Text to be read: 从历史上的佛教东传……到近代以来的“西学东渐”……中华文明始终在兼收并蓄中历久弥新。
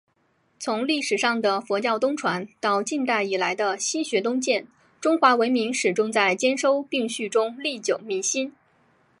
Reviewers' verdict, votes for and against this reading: accepted, 4, 2